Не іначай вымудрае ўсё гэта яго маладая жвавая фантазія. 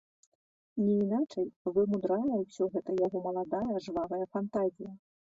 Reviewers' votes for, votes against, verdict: 1, 2, rejected